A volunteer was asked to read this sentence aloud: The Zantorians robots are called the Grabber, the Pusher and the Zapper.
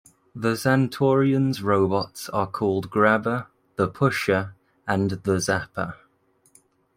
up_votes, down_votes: 1, 2